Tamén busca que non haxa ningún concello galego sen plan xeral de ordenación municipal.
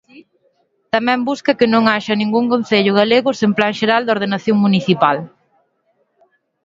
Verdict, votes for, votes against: accepted, 3, 0